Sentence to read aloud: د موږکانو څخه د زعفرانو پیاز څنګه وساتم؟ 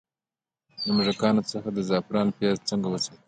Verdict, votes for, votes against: accepted, 2, 0